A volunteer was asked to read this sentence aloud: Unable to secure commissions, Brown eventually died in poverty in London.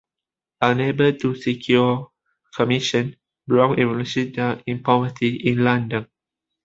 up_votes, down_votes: 3, 1